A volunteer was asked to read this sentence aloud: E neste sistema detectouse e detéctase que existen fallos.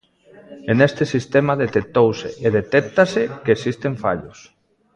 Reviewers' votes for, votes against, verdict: 2, 0, accepted